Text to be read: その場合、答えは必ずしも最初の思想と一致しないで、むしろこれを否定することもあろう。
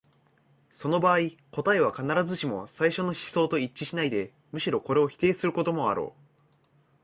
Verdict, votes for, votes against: accepted, 2, 0